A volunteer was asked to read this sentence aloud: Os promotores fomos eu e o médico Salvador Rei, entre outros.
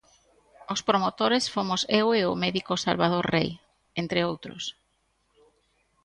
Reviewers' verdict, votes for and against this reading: accepted, 2, 0